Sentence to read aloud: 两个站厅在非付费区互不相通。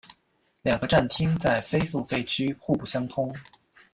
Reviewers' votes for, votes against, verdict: 2, 0, accepted